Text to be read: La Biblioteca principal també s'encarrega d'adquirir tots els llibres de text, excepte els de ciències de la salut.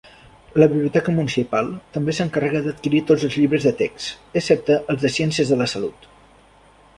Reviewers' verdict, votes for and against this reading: rejected, 1, 2